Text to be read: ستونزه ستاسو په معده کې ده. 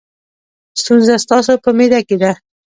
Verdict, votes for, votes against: rejected, 1, 2